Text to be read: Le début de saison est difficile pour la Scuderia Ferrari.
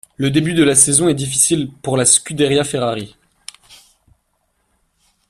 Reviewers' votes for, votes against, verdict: 0, 2, rejected